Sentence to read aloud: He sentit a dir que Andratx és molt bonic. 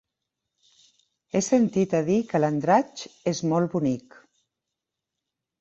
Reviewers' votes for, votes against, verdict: 0, 2, rejected